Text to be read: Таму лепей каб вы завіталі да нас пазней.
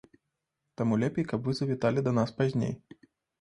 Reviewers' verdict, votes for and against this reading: accepted, 2, 0